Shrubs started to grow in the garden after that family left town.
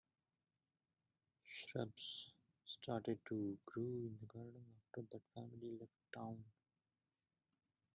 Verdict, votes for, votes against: rejected, 0, 2